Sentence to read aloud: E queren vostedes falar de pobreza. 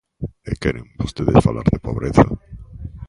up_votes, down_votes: 2, 0